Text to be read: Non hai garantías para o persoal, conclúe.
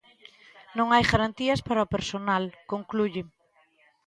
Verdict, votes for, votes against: rejected, 1, 2